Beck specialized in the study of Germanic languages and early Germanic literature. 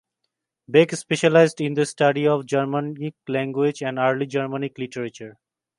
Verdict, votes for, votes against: accepted, 2, 0